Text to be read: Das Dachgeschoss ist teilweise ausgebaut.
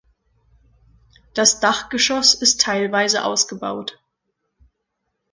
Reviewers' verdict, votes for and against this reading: accepted, 2, 0